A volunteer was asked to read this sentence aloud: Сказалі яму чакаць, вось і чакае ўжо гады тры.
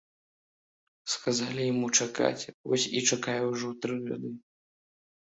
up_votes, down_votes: 0, 2